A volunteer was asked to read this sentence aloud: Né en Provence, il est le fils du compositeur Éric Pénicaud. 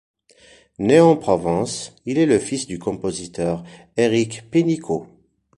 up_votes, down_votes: 3, 1